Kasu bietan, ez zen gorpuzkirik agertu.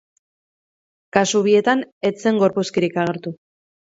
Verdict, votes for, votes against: rejected, 0, 2